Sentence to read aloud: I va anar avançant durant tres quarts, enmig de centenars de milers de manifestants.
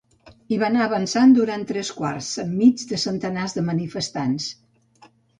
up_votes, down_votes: 1, 2